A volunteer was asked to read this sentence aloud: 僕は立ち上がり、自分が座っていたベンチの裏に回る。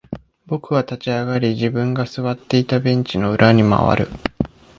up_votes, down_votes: 2, 1